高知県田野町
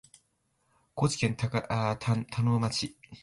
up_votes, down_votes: 3, 1